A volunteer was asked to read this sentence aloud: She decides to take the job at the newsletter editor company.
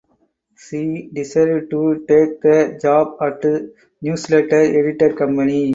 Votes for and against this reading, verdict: 0, 4, rejected